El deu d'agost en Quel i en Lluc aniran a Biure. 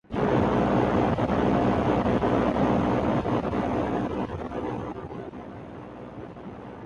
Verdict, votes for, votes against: rejected, 0, 2